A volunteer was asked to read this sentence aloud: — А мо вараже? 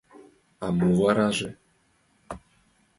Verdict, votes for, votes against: accepted, 2, 0